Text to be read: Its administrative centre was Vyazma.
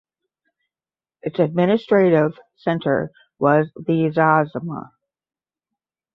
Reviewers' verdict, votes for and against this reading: rejected, 5, 5